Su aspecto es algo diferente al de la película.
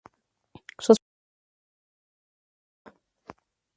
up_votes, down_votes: 0, 2